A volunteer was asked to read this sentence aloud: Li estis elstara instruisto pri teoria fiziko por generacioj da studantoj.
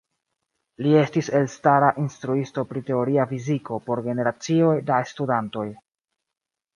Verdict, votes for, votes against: accepted, 2, 0